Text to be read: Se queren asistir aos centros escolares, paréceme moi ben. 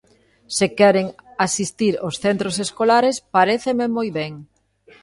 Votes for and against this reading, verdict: 1, 2, rejected